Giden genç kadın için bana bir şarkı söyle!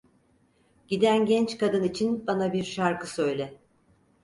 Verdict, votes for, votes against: accepted, 4, 0